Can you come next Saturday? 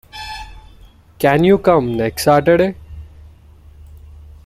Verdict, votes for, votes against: accepted, 2, 0